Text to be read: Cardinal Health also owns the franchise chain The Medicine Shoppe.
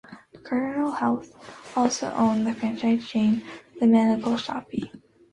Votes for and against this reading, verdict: 0, 3, rejected